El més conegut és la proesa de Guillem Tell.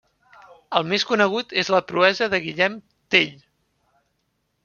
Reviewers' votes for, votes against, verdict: 3, 0, accepted